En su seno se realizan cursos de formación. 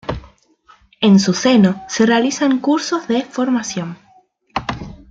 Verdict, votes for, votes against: accepted, 2, 0